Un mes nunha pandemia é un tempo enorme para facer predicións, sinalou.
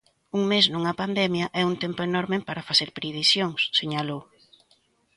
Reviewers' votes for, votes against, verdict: 1, 2, rejected